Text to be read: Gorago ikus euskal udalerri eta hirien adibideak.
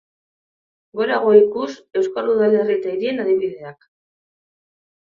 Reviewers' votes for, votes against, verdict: 1, 2, rejected